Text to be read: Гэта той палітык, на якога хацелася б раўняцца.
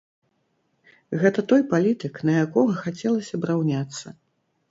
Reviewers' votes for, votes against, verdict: 4, 0, accepted